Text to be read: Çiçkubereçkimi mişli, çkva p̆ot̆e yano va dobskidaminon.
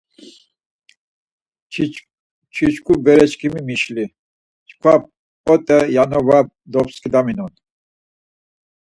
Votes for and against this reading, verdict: 2, 4, rejected